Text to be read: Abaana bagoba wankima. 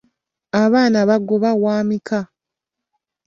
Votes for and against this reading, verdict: 0, 2, rejected